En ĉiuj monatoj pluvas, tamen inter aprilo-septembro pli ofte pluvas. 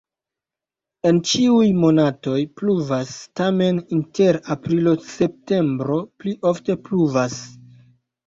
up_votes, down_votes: 1, 2